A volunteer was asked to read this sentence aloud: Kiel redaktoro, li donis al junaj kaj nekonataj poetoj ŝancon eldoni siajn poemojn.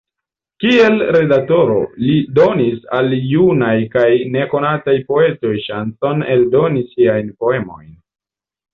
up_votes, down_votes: 2, 0